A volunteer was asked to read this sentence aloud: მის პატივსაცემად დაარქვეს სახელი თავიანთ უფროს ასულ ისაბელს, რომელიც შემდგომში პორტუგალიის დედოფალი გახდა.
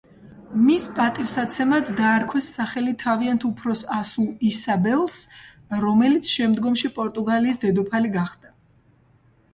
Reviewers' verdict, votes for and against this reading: accepted, 2, 1